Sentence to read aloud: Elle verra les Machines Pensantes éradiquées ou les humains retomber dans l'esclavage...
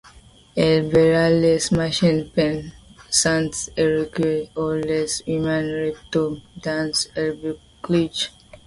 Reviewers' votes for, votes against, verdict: 0, 2, rejected